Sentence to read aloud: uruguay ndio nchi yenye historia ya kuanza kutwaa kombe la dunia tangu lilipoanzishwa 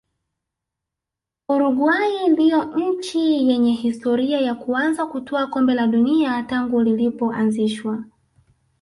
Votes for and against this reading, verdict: 0, 2, rejected